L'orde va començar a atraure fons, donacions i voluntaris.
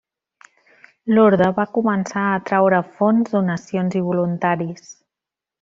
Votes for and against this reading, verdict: 1, 2, rejected